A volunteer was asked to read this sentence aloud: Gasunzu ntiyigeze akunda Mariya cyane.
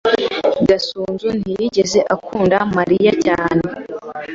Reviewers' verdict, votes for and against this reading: accepted, 2, 0